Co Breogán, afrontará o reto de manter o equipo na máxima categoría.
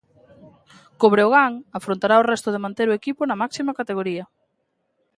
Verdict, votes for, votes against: rejected, 1, 2